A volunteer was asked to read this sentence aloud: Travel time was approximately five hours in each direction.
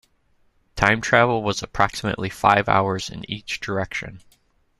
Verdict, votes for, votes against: rejected, 0, 2